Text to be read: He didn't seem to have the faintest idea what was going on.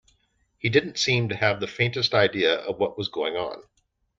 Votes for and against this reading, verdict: 0, 2, rejected